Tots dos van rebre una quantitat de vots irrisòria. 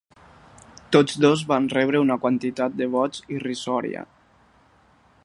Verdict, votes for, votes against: accepted, 4, 0